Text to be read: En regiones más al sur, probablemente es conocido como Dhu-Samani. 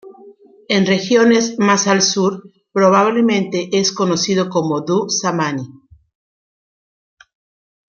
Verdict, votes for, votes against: accepted, 2, 0